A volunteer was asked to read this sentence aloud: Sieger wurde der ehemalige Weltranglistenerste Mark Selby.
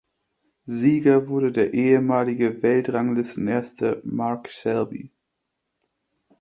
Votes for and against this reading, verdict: 2, 1, accepted